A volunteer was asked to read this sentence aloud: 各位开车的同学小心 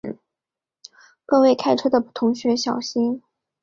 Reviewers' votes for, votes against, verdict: 3, 0, accepted